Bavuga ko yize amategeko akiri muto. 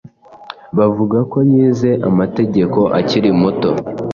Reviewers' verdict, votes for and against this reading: accepted, 2, 0